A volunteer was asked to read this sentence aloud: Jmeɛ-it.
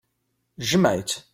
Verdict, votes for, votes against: rejected, 1, 2